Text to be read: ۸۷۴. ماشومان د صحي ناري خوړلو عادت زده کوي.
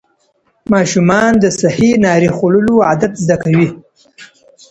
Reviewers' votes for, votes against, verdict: 0, 2, rejected